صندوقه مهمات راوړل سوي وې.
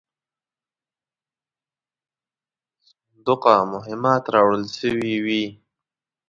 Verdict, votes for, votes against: rejected, 1, 2